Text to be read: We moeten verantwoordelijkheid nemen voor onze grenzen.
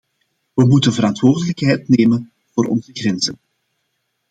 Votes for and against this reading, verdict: 2, 0, accepted